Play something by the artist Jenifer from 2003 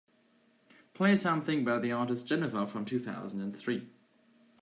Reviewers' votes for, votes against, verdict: 0, 2, rejected